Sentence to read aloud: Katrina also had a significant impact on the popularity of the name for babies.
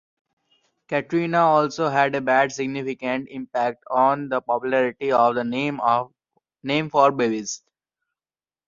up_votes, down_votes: 1, 2